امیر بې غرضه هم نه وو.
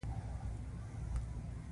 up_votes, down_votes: 2, 0